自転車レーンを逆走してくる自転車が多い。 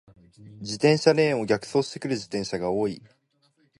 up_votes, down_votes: 2, 0